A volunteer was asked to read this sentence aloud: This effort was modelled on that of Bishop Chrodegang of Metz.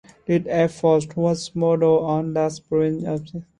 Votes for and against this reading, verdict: 0, 2, rejected